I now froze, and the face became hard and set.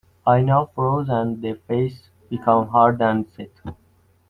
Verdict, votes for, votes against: rejected, 0, 2